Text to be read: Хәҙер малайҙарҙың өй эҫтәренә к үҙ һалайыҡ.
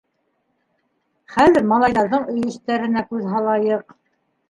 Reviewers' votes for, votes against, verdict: 0, 2, rejected